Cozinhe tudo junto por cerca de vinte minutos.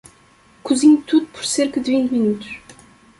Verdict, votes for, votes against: rejected, 0, 2